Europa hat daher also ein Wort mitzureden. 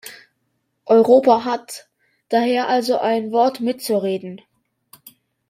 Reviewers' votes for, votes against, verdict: 2, 0, accepted